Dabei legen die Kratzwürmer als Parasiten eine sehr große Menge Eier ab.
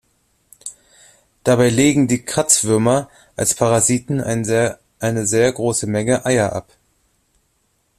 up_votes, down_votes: 1, 2